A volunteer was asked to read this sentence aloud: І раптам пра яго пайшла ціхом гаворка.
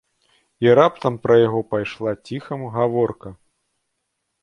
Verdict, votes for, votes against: rejected, 1, 2